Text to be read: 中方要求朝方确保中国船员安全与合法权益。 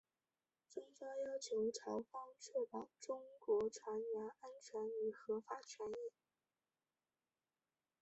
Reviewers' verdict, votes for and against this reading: rejected, 0, 2